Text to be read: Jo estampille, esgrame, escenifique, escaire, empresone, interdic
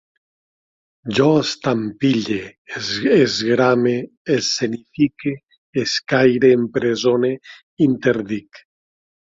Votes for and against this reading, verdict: 1, 2, rejected